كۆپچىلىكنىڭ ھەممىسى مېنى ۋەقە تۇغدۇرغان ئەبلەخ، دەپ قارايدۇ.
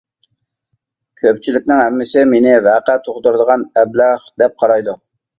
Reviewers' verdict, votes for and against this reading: rejected, 1, 2